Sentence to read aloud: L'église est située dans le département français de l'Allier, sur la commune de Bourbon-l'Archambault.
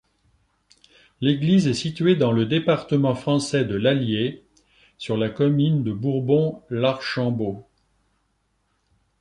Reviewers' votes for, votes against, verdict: 1, 2, rejected